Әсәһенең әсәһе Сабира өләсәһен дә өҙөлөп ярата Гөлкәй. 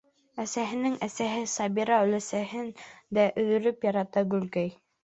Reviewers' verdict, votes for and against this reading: rejected, 1, 2